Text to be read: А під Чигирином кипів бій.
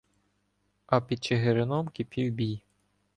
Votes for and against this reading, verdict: 1, 2, rejected